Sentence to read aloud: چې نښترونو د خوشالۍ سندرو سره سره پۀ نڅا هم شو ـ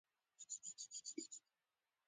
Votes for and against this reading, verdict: 0, 2, rejected